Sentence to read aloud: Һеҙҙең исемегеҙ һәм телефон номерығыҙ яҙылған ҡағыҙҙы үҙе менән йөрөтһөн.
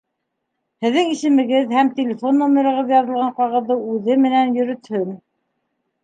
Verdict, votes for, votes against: accepted, 2, 0